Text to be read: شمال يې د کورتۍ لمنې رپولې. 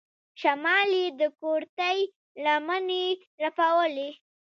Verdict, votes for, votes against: rejected, 0, 2